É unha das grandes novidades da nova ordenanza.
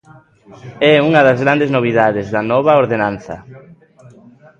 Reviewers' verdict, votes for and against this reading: rejected, 1, 2